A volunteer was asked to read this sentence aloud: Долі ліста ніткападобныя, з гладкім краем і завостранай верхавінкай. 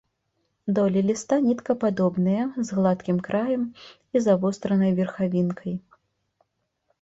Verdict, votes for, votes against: rejected, 1, 2